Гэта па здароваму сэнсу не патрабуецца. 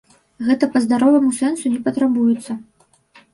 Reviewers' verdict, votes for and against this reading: accepted, 2, 0